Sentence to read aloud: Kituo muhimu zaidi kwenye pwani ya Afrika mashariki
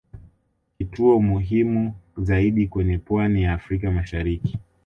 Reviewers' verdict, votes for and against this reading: accepted, 2, 0